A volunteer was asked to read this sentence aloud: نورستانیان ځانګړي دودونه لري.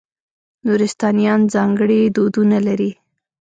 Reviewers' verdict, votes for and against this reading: accepted, 2, 0